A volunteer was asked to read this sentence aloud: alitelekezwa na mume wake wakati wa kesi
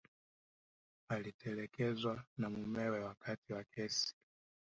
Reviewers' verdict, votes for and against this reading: rejected, 0, 2